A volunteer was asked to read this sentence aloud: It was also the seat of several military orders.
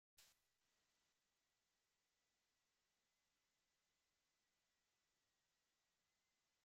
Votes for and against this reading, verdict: 0, 2, rejected